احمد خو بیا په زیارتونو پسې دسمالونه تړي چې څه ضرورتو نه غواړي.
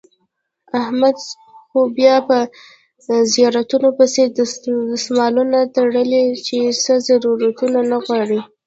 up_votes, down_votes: 3, 0